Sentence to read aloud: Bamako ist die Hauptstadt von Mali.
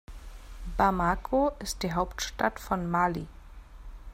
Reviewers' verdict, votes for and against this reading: accepted, 2, 0